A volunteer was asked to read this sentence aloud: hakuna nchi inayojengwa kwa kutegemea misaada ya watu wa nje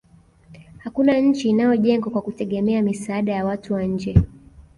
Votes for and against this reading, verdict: 2, 0, accepted